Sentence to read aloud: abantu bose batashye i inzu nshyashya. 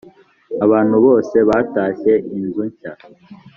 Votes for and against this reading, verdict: 2, 0, accepted